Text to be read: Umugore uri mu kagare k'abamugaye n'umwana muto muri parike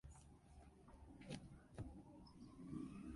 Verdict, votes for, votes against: rejected, 0, 2